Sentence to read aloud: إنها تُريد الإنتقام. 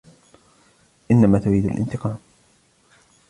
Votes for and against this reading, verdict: 0, 2, rejected